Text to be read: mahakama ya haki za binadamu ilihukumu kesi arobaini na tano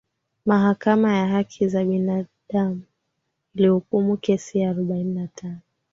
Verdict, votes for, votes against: accepted, 2, 0